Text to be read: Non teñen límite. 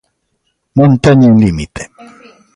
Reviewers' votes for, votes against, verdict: 1, 2, rejected